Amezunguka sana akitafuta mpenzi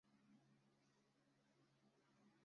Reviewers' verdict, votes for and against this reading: rejected, 0, 2